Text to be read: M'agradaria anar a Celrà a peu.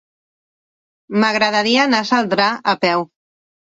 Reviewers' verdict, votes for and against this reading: rejected, 0, 2